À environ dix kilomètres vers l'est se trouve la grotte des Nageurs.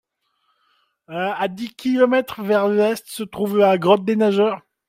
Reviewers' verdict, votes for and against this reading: rejected, 0, 2